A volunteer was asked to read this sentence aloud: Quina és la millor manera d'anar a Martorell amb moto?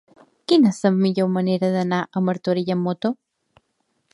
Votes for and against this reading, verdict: 2, 1, accepted